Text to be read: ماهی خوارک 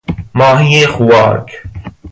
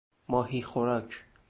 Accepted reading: first